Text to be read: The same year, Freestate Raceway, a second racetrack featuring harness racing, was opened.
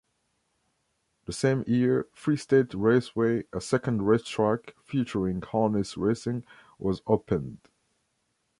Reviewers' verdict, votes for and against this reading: accepted, 2, 0